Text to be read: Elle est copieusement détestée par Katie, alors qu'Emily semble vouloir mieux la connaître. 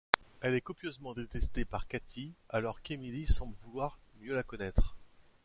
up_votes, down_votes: 2, 0